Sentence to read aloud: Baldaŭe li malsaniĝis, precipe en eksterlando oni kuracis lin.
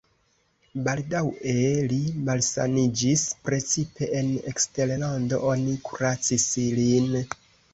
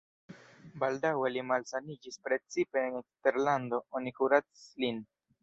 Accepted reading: first